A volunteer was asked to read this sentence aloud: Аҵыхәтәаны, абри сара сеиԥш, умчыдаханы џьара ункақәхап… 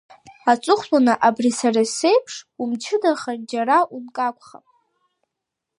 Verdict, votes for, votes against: rejected, 1, 2